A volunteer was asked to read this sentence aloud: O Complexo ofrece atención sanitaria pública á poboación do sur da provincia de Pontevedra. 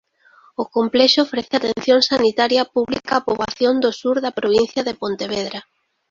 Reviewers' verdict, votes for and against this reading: rejected, 0, 2